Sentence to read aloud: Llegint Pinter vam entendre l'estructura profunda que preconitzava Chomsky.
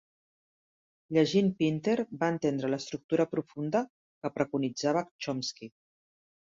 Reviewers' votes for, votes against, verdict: 0, 2, rejected